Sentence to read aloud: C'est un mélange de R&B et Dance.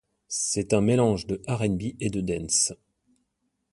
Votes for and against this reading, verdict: 0, 2, rejected